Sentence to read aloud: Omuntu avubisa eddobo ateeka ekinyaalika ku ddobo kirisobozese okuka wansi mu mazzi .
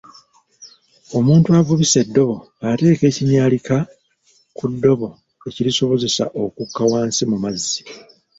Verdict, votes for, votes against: rejected, 1, 2